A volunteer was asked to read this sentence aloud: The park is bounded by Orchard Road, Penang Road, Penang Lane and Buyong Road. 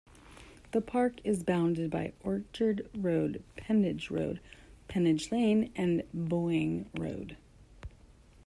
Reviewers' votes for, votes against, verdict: 1, 2, rejected